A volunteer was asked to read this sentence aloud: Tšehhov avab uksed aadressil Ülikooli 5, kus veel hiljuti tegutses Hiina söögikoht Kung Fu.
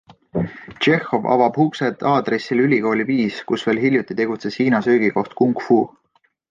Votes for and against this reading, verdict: 0, 2, rejected